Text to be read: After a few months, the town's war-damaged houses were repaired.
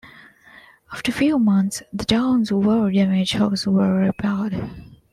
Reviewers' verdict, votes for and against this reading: accepted, 2, 1